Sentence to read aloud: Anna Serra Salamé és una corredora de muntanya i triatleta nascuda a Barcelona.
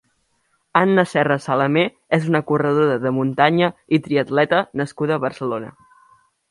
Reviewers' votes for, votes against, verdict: 4, 0, accepted